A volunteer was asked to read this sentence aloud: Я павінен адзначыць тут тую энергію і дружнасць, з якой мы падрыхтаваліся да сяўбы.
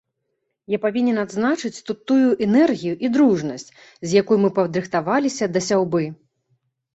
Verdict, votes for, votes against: accepted, 2, 0